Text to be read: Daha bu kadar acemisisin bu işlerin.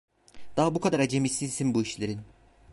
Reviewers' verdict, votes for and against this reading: rejected, 1, 2